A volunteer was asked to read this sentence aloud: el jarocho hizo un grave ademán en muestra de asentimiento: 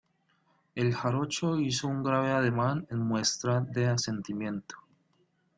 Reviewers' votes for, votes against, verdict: 2, 0, accepted